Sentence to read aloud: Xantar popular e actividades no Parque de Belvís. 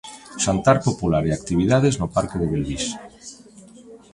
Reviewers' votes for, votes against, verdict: 0, 2, rejected